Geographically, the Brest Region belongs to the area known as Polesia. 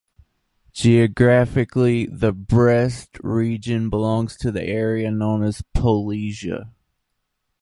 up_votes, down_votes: 2, 1